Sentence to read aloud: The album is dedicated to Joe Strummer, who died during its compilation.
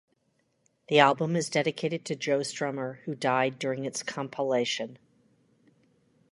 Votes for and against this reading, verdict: 2, 0, accepted